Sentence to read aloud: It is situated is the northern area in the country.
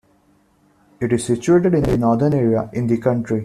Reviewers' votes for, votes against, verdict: 2, 1, accepted